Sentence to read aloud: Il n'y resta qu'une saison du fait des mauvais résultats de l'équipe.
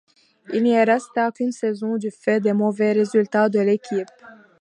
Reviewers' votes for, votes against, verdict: 2, 0, accepted